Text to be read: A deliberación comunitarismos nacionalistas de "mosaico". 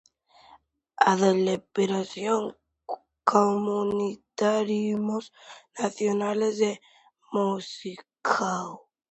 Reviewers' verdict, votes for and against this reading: rejected, 0, 2